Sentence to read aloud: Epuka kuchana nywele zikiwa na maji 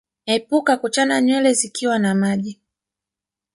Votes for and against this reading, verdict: 1, 2, rejected